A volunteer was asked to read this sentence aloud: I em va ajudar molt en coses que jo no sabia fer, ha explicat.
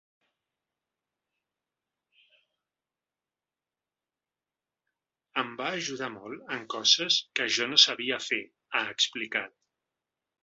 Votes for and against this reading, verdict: 1, 2, rejected